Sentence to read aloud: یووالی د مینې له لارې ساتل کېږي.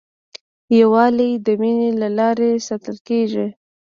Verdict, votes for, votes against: accepted, 2, 0